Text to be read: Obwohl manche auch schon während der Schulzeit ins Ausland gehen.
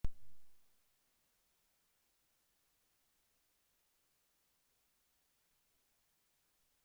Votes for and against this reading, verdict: 0, 2, rejected